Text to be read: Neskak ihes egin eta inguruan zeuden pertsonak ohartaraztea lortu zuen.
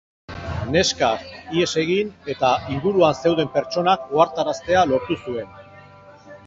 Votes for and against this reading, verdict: 0, 2, rejected